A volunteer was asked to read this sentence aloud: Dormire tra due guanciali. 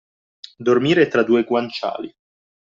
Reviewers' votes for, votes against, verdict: 2, 0, accepted